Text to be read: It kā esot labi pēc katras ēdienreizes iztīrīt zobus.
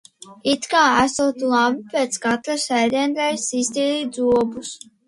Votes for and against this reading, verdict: 2, 0, accepted